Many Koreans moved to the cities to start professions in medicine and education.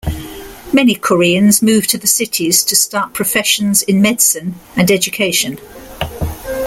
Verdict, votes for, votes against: accepted, 2, 1